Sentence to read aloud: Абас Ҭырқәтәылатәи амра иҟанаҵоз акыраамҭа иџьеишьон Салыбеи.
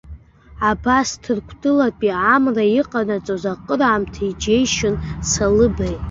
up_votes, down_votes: 2, 0